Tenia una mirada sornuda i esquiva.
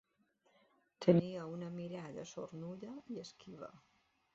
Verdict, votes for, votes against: accepted, 2, 0